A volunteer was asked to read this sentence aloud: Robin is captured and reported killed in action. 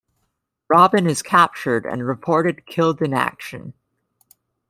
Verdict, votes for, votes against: accepted, 2, 0